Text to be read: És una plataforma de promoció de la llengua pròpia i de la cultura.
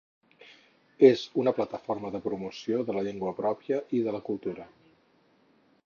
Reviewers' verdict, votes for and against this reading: accepted, 8, 0